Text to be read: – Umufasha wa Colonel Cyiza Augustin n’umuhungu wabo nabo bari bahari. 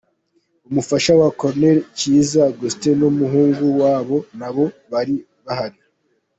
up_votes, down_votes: 0, 2